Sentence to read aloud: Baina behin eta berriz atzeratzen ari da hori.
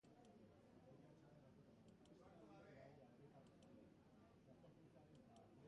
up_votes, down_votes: 0, 2